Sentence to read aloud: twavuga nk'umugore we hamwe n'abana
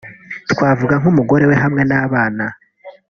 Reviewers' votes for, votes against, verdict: 3, 0, accepted